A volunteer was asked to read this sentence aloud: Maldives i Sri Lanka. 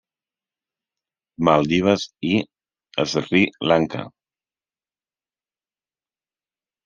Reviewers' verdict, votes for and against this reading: rejected, 1, 2